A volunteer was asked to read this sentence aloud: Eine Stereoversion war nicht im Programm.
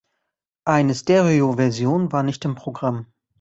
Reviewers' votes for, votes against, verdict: 2, 0, accepted